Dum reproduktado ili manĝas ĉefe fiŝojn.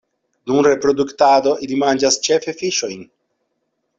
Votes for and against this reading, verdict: 2, 0, accepted